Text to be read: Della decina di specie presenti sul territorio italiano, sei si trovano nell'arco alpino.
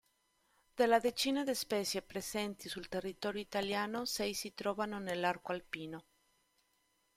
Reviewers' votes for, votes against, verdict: 1, 2, rejected